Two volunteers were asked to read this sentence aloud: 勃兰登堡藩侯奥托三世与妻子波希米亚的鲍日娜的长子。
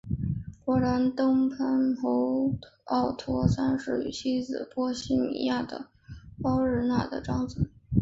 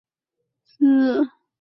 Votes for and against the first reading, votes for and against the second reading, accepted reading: 2, 1, 0, 5, first